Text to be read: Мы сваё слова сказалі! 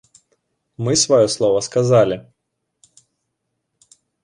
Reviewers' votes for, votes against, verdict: 2, 0, accepted